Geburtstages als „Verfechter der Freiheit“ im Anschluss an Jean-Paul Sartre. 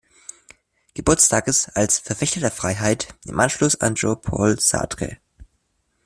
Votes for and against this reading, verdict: 2, 0, accepted